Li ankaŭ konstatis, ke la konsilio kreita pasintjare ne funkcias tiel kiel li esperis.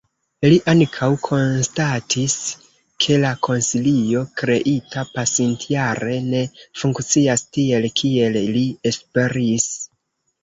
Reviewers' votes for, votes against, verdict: 1, 2, rejected